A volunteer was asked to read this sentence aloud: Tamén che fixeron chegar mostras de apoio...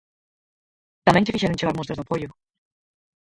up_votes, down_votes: 0, 4